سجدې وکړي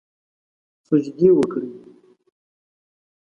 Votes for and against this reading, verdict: 2, 0, accepted